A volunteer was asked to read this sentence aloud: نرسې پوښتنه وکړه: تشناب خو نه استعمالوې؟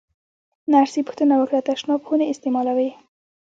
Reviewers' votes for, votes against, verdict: 2, 0, accepted